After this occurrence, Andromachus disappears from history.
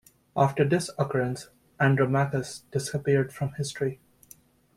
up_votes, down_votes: 2, 0